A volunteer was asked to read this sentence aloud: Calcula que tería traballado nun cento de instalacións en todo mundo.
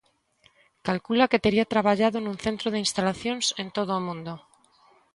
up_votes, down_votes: 2, 0